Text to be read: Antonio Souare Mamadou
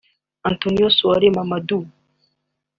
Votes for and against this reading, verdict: 2, 1, accepted